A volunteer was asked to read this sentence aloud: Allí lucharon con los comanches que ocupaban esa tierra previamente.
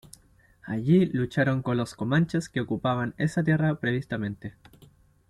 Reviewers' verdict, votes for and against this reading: rejected, 1, 2